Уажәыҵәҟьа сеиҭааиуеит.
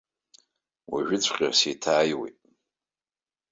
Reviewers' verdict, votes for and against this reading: rejected, 1, 2